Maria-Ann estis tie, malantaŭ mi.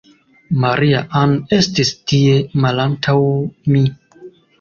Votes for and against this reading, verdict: 2, 0, accepted